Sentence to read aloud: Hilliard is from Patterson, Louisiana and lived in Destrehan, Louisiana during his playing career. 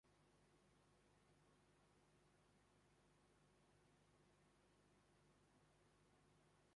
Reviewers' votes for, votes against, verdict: 0, 2, rejected